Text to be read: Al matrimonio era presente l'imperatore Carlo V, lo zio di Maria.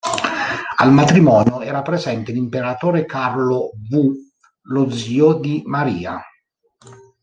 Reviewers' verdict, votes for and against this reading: rejected, 0, 3